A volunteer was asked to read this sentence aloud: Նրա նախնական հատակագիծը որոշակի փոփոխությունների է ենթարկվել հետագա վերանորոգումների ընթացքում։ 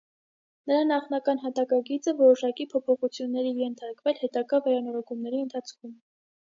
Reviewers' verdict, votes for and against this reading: accepted, 2, 0